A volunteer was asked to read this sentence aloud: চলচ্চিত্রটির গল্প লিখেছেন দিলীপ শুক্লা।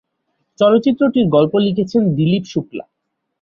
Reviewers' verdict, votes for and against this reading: accepted, 4, 0